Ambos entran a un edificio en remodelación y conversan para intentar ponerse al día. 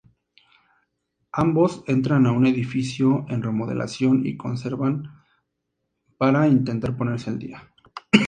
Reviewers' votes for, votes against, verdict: 0, 2, rejected